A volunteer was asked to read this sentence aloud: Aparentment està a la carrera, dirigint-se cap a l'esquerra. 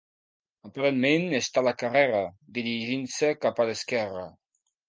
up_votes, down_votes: 2, 1